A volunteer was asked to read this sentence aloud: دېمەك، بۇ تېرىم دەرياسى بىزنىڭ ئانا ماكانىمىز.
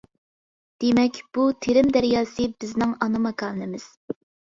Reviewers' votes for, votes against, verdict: 2, 0, accepted